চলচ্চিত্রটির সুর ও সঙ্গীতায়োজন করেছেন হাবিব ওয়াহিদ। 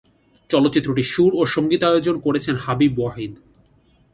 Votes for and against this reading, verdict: 2, 0, accepted